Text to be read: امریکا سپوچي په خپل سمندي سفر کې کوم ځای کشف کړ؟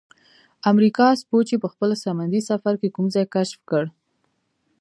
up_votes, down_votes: 0, 2